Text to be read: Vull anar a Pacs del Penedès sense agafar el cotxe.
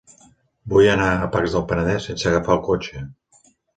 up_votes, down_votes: 2, 0